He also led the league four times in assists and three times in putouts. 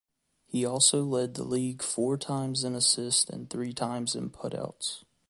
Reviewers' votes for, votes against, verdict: 3, 0, accepted